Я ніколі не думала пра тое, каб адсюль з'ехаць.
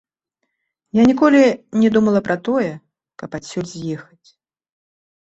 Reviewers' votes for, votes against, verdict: 0, 2, rejected